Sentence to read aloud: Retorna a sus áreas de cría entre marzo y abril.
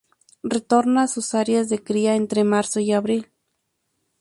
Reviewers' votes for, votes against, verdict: 2, 0, accepted